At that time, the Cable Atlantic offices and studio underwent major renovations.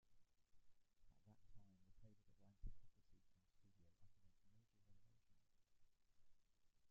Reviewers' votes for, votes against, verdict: 0, 2, rejected